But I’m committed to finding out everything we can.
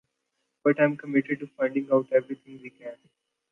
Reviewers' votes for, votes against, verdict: 2, 1, accepted